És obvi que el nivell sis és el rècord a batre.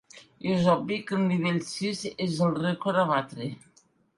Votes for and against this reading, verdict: 2, 0, accepted